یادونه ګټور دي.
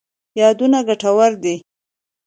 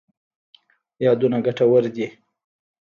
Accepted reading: first